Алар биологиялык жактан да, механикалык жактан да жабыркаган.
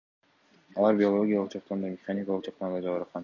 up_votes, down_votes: 2, 0